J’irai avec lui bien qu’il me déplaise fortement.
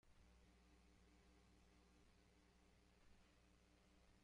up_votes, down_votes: 0, 2